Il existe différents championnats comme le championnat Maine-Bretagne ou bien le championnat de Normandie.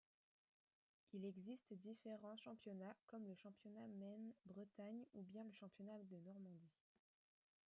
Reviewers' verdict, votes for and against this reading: accepted, 2, 1